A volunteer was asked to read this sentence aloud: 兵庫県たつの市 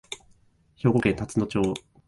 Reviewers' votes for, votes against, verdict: 1, 3, rejected